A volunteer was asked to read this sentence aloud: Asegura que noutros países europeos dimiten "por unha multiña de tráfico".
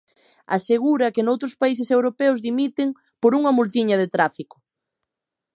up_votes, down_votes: 2, 0